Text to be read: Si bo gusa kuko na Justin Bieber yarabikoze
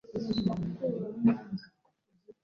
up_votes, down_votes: 0, 2